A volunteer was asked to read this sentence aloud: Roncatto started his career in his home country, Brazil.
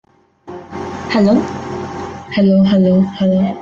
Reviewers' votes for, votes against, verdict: 0, 2, rejected